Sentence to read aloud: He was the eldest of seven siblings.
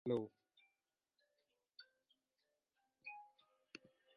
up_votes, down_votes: 1, 2